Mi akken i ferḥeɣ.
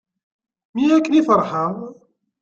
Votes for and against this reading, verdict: 2, 1, accepted